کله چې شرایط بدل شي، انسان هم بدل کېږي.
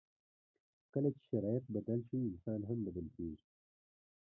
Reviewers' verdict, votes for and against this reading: rejected, 1, 2